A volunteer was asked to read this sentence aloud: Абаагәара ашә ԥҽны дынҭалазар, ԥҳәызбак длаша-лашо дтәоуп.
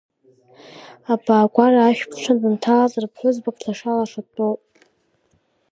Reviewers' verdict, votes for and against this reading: accepted, 3, 0